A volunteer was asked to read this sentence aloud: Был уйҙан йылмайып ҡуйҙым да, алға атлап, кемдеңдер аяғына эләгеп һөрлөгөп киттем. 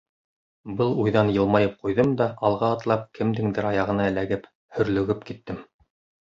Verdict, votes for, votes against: accepted, 2, 0